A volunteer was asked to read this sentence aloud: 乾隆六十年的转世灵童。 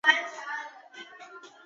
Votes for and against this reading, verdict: 0, 2, rejected